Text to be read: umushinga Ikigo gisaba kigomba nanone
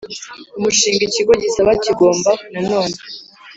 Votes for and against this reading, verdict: 2, 0, accepted